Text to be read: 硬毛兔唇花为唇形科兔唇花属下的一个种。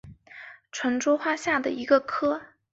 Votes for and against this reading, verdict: 0, 2, rejected